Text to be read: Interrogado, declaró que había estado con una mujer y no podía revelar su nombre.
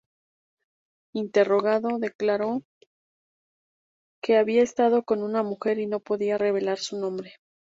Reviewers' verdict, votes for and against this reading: accepted, 4, 0